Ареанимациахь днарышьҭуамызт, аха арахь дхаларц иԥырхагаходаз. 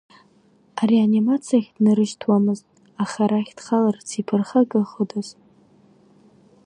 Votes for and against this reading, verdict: 2, 1, accepted